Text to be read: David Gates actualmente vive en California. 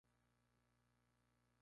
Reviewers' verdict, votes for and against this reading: rejected, 0, 4